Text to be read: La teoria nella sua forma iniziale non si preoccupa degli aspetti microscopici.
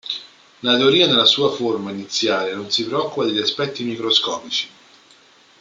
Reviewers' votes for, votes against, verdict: 2, 0, accepted